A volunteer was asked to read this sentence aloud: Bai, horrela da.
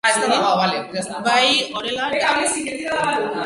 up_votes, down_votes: 0, 2